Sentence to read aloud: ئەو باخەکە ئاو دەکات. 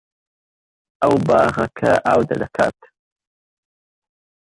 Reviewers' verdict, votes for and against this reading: accepted, 2, 1